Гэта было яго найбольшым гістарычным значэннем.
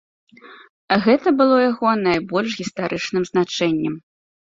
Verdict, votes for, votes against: rejected, 1, 2